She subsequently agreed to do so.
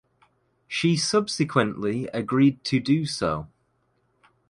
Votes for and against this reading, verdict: 2, 0, accepted